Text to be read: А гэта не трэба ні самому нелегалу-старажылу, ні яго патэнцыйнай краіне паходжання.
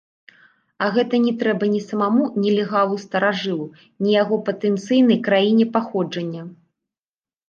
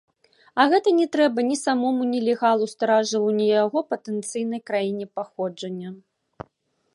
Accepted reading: second